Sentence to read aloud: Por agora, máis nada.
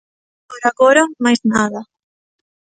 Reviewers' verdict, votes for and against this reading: rejected, 0, 2